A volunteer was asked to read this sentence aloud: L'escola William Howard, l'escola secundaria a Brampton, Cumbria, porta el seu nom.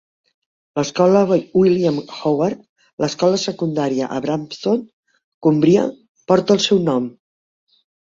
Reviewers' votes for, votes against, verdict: 1, 2, rejected